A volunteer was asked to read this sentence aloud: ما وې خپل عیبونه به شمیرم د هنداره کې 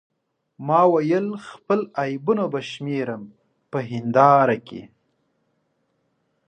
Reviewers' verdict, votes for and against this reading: accepted, 2, 0